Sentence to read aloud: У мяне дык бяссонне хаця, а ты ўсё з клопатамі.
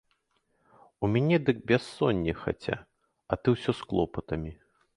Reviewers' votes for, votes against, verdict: 2, 0, accepted